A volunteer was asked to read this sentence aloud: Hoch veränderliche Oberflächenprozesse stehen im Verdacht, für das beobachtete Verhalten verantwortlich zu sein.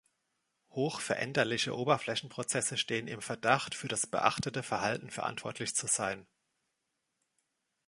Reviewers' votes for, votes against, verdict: 0, 2, rejected